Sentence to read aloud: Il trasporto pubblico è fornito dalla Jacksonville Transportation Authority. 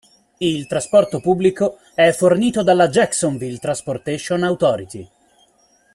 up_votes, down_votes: 2, 0